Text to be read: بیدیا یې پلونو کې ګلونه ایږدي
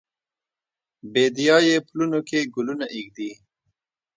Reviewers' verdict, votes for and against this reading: rejected, 1, 2